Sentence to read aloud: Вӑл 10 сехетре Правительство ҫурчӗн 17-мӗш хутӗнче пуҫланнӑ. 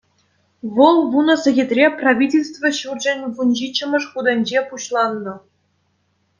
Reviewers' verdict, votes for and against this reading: rejected, 0, 2